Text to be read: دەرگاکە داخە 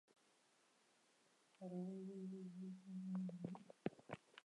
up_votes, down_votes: 0, 2